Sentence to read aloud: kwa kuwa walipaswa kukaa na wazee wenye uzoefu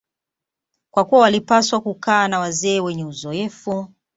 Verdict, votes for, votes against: accepted, 2, 0